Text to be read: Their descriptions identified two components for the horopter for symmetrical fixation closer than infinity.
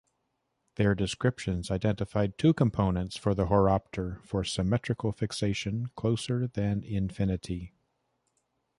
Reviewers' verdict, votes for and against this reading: accepted, 2, 0